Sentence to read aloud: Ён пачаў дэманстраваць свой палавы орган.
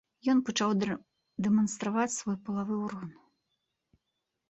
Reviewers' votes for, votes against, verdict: 0, 2, rejected